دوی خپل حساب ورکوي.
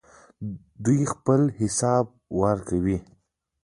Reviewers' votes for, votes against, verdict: 1, 2, rejected